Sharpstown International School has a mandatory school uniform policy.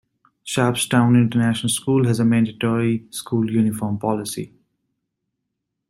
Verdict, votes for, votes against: rejected, 2, 2